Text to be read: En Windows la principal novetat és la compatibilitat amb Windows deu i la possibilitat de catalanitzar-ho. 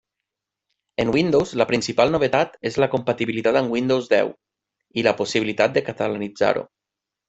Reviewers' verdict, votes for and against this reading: accepted, 2, 0